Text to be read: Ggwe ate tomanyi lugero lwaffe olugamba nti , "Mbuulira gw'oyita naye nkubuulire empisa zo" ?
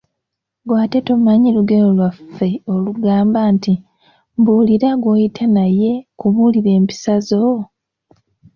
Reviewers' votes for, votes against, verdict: 2, 0, accepted